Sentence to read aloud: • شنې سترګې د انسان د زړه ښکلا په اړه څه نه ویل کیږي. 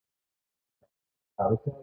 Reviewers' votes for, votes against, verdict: 1, 2, rejected